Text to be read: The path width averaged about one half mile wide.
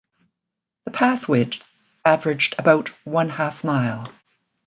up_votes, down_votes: 1, 2